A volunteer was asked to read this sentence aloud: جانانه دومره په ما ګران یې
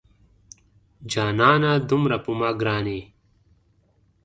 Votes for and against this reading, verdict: 2, 0, accepted